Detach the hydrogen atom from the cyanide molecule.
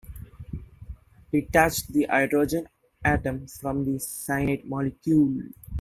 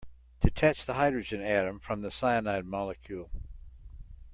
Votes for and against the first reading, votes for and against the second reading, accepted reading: 1, 2, 2, 0, second